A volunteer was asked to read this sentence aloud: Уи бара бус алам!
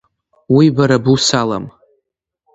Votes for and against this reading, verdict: 2, 0, accepted